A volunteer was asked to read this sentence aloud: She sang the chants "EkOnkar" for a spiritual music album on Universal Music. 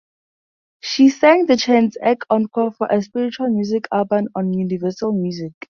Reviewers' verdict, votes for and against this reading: rejected, 0, 2